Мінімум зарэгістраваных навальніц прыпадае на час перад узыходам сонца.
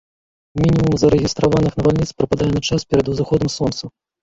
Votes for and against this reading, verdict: 0, 2, rejected